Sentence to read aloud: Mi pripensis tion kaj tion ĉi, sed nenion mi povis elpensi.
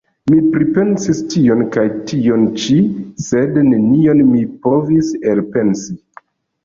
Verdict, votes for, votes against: accepted, 2, 0